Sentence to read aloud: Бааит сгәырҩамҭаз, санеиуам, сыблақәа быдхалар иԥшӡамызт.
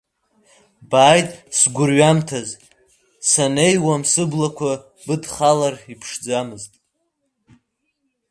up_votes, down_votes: 2, 1